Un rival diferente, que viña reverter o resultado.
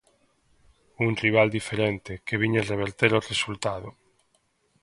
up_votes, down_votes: 2, 0